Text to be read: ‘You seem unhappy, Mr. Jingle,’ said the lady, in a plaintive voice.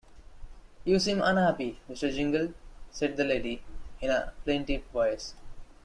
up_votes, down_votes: 2, 0